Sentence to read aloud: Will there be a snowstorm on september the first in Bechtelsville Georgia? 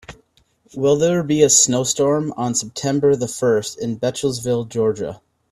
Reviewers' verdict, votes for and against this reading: accepted, 2, 0